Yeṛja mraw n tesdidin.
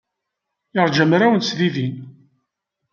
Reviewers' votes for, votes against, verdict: 2, 1, accepted